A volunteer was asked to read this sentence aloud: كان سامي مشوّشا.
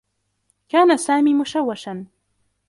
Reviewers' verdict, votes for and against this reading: accepted, 2, 0